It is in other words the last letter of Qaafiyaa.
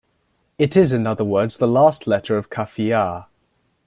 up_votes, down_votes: 2, 0